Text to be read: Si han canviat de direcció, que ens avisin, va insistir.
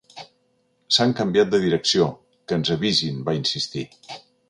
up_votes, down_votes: 0, 2